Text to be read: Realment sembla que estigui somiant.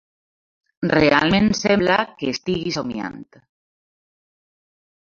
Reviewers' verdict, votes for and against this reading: accepted, 2, 0